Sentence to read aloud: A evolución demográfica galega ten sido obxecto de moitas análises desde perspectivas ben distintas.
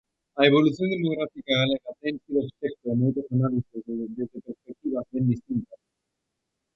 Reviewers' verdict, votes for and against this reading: rejected, 0, 2